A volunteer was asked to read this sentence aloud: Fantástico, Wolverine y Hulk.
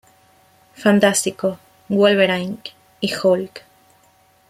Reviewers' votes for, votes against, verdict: 1, 2, rejected